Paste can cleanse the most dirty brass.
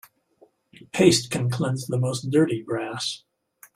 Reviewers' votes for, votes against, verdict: 2, 0, accepted